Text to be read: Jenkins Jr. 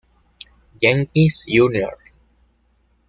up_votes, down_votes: 2, 1